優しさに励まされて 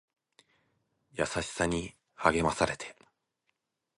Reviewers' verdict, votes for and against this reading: accepted, 2, 0